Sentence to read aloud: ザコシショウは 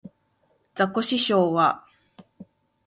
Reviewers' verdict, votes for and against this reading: accepted, 3, 0